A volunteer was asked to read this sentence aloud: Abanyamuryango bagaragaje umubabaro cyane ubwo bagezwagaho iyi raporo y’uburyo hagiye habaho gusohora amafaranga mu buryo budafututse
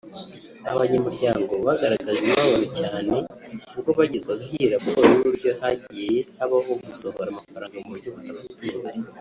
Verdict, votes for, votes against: rejected, 1, 2